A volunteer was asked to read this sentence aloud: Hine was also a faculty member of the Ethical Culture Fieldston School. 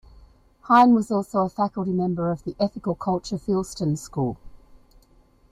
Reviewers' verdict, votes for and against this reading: rejected, 1, 2